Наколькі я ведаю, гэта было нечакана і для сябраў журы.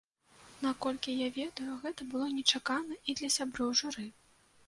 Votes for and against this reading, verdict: 0, 2, rejected